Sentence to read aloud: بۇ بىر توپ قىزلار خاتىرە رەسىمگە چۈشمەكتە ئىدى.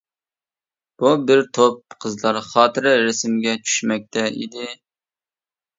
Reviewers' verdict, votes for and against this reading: accepted, 2, 0